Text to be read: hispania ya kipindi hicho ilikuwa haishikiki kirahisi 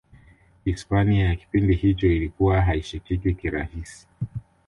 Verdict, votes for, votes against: accepted, 2, 0